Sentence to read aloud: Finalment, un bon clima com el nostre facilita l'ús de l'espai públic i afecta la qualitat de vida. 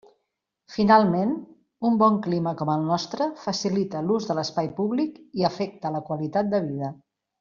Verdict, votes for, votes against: accepted, 3, 0